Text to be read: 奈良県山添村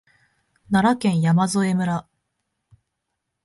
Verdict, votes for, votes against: accepted, 2, 0